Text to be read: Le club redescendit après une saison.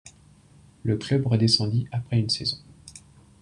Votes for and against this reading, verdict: 2, 0, accepted